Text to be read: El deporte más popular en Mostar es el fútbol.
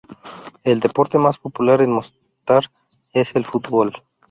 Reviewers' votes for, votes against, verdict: 0, 2, rejected